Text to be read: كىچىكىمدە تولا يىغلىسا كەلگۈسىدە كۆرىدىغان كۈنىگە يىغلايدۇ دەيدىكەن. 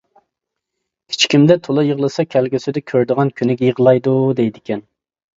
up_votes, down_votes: 2, 0